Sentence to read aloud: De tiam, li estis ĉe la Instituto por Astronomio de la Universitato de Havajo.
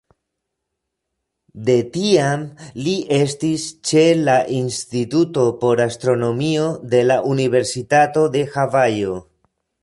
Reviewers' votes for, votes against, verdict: 1, 2, rejected